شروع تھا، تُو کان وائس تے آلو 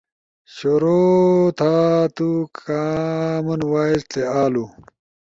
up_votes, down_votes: 2, 0